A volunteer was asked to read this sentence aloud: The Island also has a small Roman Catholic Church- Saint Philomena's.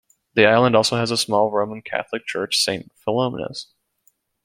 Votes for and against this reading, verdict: 2, 0, accepted